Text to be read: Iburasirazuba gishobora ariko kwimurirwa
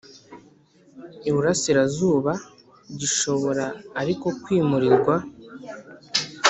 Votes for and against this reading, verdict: 3, 0, accepted